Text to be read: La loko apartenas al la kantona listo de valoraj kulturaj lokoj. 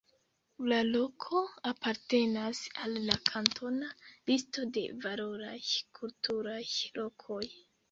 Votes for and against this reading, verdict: 0, 2, rejected